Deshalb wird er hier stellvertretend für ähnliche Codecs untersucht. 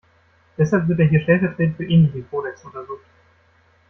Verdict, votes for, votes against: rejected, 1, 2